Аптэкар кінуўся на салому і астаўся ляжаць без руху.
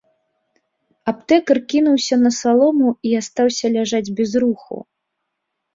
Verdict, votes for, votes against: rejected, 1, 2